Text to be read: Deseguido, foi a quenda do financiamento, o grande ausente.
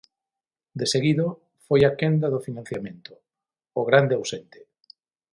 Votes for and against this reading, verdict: 6, 0, accepted